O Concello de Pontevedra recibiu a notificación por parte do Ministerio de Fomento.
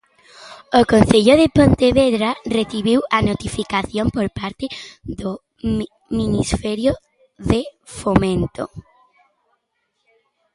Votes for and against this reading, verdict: 1, 2, rejected